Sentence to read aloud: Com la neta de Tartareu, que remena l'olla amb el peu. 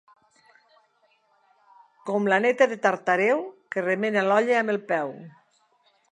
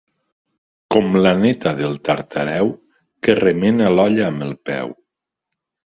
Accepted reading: first